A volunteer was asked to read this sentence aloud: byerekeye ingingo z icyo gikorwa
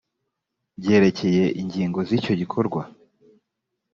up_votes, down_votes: 3, 0